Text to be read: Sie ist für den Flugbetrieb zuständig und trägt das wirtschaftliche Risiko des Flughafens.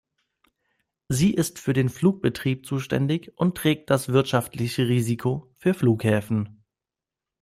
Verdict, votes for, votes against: rejected, 0, 2